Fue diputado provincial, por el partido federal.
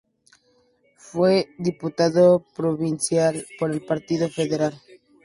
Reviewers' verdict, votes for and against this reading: accepted, 2, 0